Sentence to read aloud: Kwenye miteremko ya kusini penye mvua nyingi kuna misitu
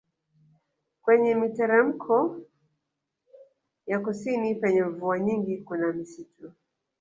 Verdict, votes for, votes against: accepted, 2, 1